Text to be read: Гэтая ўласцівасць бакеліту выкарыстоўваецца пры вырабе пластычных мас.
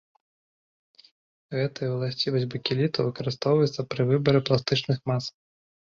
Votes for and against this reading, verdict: 0, 2, rejected